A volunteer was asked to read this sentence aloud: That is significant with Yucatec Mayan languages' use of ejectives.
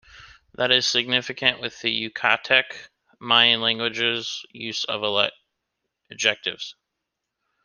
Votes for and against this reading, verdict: 1, 2, rejected